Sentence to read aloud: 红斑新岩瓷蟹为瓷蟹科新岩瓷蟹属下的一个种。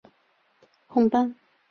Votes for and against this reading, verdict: 1, 3, rejected